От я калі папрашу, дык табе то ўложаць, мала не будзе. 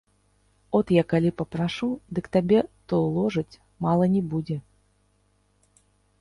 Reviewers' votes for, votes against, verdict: 2, 3, rejected